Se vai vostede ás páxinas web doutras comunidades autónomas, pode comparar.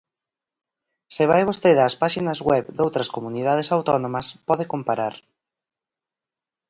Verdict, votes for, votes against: accepted, 4, 0